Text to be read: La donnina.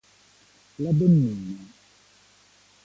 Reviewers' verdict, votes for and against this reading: rejected, 1, 2